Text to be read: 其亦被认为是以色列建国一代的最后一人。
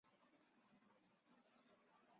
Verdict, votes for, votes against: rejected, 1, 2